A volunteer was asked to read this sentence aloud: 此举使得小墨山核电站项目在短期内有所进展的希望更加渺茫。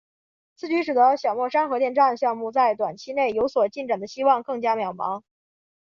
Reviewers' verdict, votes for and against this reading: accepted, 2, 1